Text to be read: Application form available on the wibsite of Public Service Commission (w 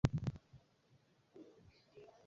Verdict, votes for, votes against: rejected, 0, 2